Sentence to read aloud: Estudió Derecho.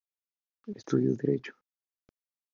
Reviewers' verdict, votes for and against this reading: accepted, 2, 0